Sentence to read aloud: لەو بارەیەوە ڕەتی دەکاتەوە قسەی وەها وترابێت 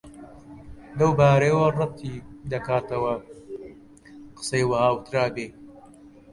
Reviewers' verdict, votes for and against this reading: rejected, 0, 2